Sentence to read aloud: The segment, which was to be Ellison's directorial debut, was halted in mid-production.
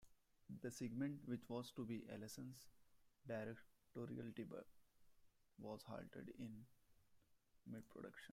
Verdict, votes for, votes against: rejected, 1, 2